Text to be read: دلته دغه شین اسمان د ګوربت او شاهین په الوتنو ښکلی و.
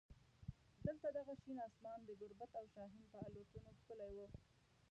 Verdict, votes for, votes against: rejected, 0, 2